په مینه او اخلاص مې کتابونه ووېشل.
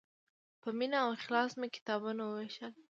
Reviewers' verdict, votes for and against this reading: accepted, 2, 0